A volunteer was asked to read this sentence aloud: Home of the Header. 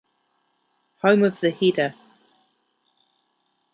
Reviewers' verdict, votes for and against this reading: rejected, 1, 2